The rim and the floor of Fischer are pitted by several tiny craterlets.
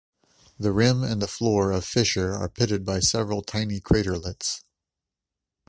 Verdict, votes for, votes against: accepted, 2, 0